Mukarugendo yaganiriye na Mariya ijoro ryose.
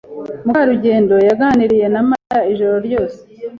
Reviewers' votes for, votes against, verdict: 2, 0, accepted